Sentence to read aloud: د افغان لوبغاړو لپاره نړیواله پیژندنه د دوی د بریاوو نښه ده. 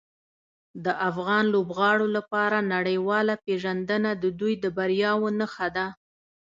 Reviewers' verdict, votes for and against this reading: accepted, 2, 1